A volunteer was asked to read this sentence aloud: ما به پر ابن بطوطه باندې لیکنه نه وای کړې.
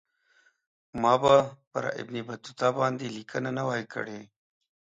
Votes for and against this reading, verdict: 2, 0, accepted